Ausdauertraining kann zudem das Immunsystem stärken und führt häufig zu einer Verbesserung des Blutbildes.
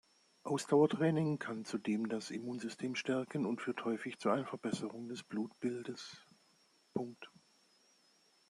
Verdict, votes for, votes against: rejected, 2, 3